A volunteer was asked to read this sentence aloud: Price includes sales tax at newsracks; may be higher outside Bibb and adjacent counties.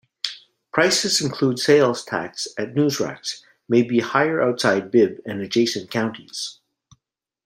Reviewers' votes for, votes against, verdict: 0, 2, rejected